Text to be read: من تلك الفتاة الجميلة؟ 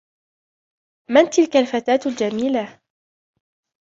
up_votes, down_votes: 2, 0